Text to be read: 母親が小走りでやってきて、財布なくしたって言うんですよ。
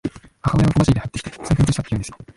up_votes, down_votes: 0, 2